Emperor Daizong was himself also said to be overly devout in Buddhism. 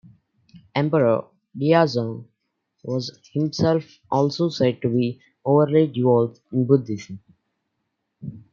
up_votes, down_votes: 2, 0